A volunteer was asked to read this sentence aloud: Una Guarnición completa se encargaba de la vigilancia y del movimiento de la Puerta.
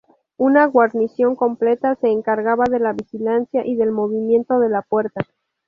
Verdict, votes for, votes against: rejected, 0, 2